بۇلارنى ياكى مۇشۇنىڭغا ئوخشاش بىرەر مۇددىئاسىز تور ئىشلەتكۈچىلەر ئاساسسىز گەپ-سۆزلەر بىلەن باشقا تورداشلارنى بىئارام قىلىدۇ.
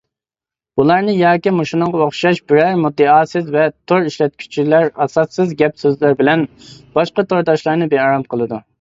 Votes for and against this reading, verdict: 0, 2, rejected